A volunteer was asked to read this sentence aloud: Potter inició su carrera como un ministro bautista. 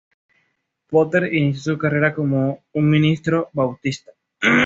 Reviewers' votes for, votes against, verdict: 2, 0, accepted